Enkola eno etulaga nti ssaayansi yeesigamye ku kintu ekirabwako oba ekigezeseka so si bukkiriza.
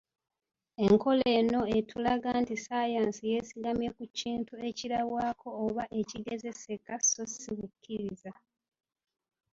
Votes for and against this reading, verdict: 1, 2, rejected